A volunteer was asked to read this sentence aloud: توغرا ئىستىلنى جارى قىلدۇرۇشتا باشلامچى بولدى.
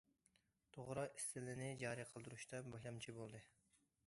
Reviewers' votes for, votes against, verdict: 0, 2, rejected